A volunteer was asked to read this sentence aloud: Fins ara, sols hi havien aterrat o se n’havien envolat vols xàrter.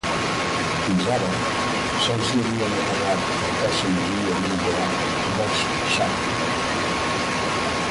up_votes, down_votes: 0, 3